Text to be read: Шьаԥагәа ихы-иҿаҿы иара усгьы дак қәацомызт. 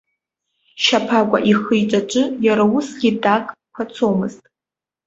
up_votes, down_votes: 2, 1